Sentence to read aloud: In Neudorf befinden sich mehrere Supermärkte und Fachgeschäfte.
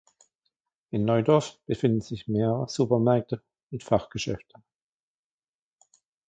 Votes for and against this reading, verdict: 1, 2, rejected